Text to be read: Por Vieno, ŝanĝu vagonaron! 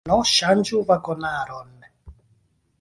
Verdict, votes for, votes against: rejected, 0, 2